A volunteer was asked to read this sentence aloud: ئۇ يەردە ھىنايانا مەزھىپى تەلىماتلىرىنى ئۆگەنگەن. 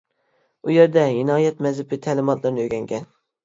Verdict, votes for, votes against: rejected, 0, 2